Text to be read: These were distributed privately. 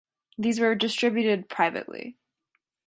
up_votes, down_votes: 2, 0